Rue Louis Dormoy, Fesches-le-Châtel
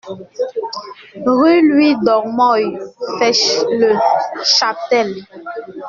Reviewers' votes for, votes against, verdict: 1, 2, rejected